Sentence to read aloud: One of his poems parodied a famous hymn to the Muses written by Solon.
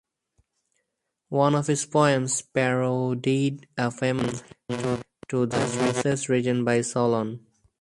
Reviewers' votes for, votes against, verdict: 2, 4, rejected